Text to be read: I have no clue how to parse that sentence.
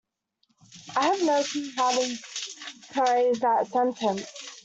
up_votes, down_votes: 0, 2